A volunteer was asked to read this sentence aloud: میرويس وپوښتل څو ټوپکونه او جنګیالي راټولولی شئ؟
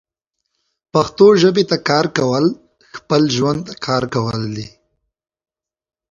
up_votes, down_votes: 0, 2